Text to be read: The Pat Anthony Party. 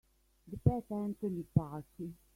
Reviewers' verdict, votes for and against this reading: rejected, 2, 3